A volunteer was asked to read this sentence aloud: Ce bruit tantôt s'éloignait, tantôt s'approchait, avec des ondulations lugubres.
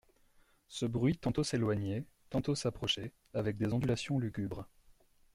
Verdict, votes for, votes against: accepted, 2, 0